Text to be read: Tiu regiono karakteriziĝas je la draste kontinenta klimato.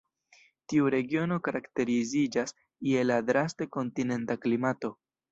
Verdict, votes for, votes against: rejected, 1, 2